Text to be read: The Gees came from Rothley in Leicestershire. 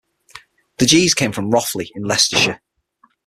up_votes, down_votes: 6, 0